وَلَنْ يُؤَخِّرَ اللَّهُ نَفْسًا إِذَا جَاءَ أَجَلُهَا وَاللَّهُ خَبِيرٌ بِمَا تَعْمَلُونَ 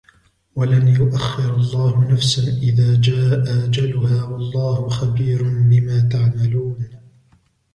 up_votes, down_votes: 3, 0